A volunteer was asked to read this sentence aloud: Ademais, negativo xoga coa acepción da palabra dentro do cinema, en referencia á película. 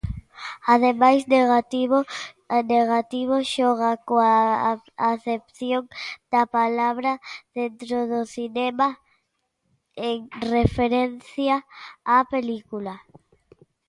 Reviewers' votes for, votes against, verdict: 1, 2, rejected